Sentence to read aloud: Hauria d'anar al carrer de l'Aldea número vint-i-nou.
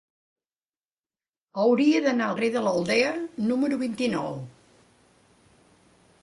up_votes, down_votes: 2, 3